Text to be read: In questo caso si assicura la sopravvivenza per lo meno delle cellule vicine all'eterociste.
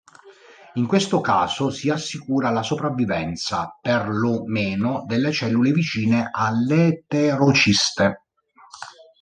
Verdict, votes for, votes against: rejected, 0, 3